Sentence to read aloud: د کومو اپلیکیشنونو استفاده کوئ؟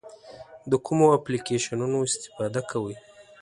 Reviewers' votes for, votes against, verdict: 2, 0, accepted